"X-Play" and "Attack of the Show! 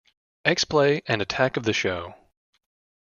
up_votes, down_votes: 3, 0